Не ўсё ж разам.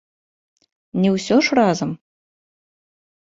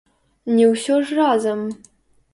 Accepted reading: first